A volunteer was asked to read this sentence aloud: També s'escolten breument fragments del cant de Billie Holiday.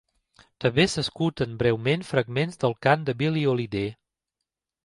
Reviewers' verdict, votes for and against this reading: accepted, 2, 1